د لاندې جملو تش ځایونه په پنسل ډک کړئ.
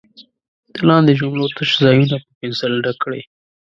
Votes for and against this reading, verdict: 2, 1, accepted